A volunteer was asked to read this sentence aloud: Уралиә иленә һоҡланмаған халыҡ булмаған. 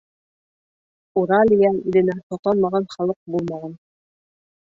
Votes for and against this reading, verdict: 2, 1, accepted